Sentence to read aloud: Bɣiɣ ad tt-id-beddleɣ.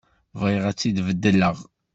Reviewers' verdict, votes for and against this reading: accepted, 2, 0